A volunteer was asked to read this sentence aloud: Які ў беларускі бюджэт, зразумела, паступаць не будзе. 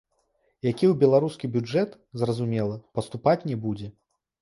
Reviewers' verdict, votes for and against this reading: accepted, 2, 0